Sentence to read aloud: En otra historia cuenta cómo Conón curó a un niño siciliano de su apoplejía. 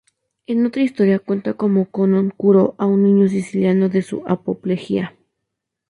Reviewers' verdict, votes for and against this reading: rejected, 0, 2